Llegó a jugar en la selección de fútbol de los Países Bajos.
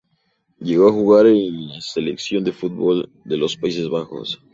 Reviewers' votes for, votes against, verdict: 2, 0, accepted